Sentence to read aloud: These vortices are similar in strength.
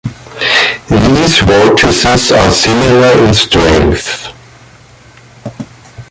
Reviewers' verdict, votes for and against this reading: rejected, 0, 2